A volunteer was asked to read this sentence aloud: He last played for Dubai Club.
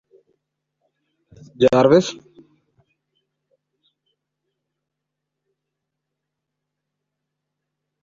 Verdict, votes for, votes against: rejected, 0, 2